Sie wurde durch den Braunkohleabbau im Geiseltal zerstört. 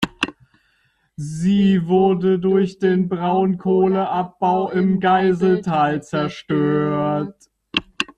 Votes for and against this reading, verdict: 0, 2, rejected